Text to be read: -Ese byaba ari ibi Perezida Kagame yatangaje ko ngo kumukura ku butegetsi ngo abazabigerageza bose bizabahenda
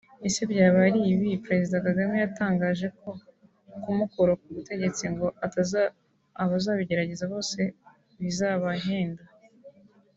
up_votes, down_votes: 0, 2